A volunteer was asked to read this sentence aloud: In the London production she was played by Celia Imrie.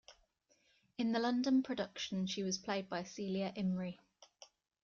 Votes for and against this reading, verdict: 2, 0, accepted